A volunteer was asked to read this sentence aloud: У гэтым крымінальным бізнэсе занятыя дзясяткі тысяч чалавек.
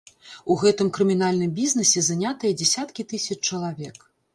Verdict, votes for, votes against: accepted, 2, 0